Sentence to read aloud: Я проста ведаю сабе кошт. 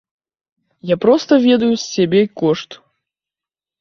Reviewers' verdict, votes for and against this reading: rejected, 1, 2